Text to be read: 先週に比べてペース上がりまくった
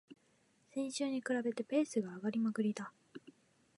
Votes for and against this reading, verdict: 1, 2, rejected